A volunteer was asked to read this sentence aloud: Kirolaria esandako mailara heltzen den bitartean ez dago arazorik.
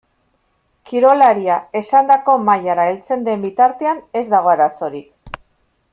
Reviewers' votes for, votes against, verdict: 2, 0, accepted